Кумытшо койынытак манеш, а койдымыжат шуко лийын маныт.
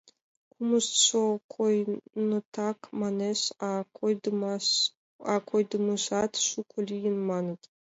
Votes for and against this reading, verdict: 0, 2, rejected